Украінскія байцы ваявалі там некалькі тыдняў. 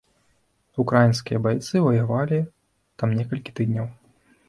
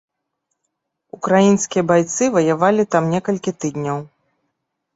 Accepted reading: second